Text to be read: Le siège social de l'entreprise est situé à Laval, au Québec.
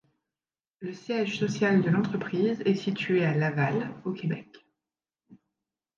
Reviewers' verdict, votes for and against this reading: rejected, 0, 2